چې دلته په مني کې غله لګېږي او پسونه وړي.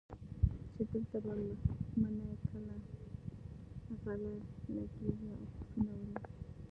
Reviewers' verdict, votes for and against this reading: rejected, 0, 2